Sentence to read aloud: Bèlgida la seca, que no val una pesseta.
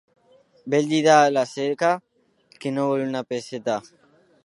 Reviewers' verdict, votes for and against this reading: rejected, 1, 2